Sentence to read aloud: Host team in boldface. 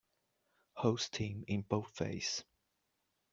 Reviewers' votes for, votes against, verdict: 2, 0, accepted